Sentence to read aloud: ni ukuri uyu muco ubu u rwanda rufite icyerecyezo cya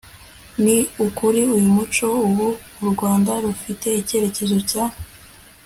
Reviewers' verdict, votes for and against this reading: accepted, 2, 0